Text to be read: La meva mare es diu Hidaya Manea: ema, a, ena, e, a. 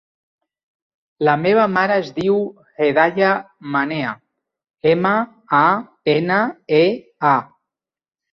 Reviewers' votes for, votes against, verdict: 1, 2, rejected